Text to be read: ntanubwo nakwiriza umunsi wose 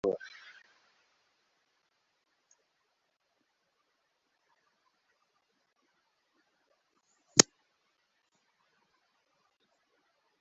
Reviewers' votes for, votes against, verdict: 0, 2, rejected